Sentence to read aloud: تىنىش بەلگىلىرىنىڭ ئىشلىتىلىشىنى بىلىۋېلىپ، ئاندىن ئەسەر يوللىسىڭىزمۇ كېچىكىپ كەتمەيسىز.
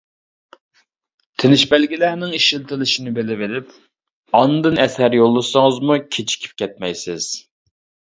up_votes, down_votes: 0, 2